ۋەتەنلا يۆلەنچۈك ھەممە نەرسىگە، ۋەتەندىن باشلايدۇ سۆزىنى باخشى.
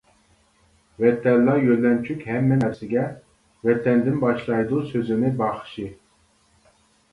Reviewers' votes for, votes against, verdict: 0, 2, rejected